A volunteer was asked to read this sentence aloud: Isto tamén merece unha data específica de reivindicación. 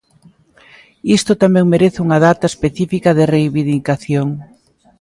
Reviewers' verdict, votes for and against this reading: rejected, 0, 2